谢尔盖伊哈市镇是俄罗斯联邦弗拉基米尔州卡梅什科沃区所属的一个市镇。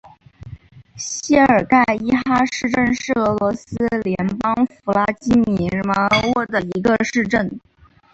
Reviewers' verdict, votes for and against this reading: accepted, 6, 2